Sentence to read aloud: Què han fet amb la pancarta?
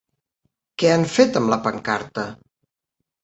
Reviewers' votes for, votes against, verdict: 3, 0, accepted